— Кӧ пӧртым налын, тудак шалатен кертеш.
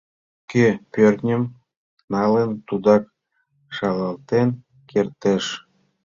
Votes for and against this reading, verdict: 1, 2, rejected